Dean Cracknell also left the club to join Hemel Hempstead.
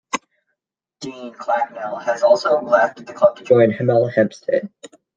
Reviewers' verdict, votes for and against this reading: rejected, 0, 2